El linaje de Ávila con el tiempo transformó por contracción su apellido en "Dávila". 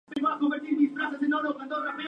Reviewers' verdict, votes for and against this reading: rejected, 0, 4